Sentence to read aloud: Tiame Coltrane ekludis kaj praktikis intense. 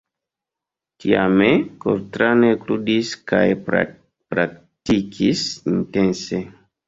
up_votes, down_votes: 1, 2